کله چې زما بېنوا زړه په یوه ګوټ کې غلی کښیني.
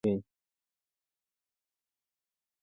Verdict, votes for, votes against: rejected, 1, 2